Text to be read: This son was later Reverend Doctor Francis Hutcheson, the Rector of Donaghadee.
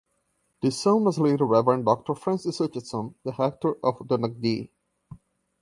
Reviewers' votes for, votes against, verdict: 1, 2, rejected